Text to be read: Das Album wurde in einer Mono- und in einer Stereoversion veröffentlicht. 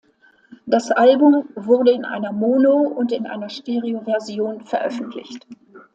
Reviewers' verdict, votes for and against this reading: accepted, 2, 0